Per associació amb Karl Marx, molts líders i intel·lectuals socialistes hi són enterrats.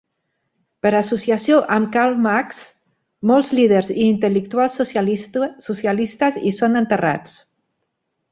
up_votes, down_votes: 1, 2